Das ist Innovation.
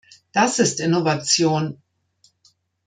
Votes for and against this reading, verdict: 2, 0, accepted